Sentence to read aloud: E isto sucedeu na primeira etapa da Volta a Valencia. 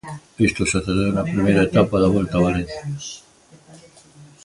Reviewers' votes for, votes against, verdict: 0, 2, rejected